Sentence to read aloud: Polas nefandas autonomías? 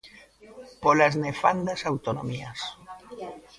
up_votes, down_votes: 0, 2